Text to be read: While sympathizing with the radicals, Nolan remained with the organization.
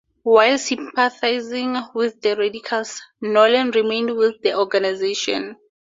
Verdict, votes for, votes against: accepted, 4, 0